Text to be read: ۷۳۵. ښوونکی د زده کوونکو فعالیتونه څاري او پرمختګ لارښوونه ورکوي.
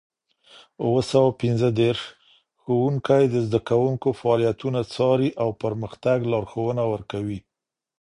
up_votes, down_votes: 0, 2